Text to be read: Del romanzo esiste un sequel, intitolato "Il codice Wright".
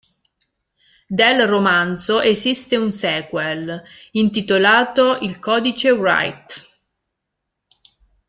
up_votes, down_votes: 1, 2